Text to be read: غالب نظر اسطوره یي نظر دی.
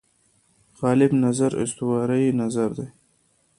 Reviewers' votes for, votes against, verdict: 2, 0, accepted